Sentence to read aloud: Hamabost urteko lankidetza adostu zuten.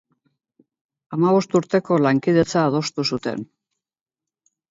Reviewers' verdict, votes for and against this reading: rejected, 4, 4